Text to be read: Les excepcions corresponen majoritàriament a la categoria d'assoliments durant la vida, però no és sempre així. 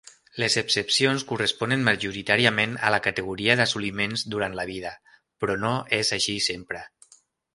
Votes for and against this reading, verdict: 0, 3, rejected